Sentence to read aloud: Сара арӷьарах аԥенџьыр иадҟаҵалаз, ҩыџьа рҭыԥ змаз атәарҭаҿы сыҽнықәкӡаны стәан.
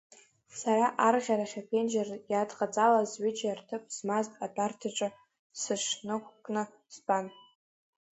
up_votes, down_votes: 1, 2